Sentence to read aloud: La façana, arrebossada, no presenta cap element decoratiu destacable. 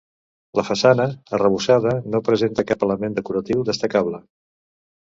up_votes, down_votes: 2, 0